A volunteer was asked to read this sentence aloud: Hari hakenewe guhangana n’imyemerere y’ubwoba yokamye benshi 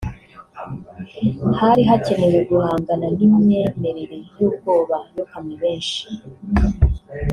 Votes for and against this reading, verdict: 2, 0, accepted